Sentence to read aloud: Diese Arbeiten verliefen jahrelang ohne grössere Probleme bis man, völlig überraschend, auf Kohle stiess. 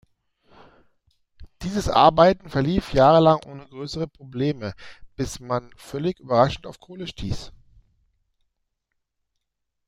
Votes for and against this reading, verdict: 1, 2, rejected